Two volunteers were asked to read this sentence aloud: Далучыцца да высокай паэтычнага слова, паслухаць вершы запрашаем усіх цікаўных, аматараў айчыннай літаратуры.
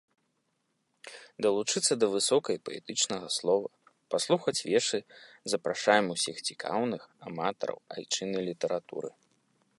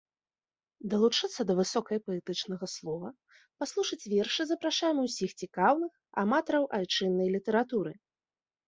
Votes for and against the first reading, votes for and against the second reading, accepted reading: 2, 0, 0, 2, first